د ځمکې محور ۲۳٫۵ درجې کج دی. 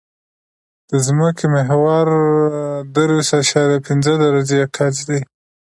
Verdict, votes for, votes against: rejected, 0, 2